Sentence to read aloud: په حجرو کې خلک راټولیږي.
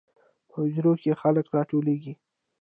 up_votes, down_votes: 1, 2